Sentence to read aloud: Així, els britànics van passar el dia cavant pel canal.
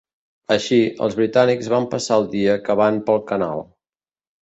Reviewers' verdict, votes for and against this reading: accepted, 2, 0